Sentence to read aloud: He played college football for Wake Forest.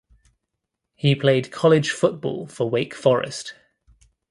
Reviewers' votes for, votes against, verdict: 2, 0, accepted